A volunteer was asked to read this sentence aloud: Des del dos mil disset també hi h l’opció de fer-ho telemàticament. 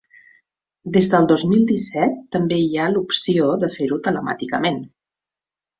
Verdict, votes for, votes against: rejected, 0, 2